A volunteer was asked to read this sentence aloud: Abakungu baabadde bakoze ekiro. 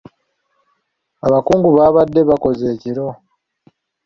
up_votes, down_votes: 1, 2